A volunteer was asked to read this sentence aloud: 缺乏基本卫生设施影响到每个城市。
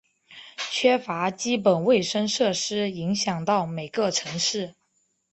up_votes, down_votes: 2, 0